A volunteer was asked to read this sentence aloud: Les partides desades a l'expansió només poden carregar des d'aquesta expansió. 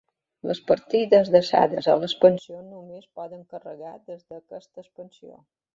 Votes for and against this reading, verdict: 2, 0, accepted